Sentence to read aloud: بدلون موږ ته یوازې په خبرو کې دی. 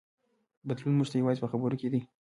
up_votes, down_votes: 0, 2